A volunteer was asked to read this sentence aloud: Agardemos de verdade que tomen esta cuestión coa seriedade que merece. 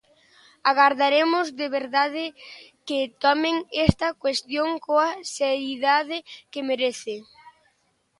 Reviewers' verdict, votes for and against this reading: rejected, 0, 2